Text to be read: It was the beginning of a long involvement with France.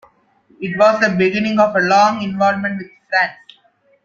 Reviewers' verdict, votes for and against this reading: rejected, 1, 2